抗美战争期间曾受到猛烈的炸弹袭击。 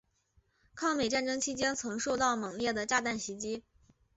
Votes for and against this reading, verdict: 2, 0, accepted